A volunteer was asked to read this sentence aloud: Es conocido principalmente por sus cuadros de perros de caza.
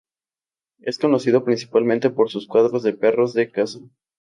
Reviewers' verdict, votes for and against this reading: accepted, 2, 0